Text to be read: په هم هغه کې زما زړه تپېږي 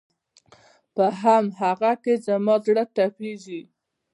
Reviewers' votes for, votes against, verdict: 2, 0, accepted